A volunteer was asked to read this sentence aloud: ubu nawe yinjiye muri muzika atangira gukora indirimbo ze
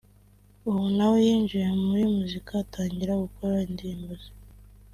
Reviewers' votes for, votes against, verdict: 3, 0, accepted